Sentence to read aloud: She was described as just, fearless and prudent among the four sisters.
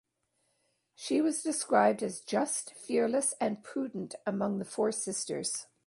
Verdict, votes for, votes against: accepted, 2, 0